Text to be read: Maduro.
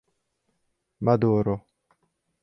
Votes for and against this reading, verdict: 4, 0, accepted